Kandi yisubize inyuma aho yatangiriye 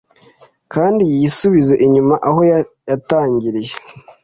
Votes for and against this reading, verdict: 2, 0, accepted